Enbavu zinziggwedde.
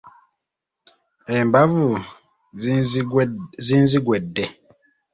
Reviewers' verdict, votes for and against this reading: rejected, 1, 2